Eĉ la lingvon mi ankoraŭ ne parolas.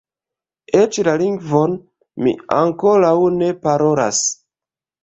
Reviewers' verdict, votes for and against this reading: rejected, 1, 2